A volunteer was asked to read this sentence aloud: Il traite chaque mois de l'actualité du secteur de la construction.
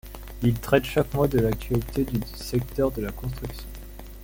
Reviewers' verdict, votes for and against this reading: rejected, 0, 2